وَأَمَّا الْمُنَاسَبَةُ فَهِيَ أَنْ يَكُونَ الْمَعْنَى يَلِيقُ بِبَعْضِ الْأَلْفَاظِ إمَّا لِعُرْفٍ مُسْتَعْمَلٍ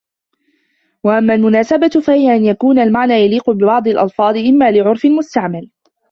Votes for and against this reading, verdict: 2, 1, accepted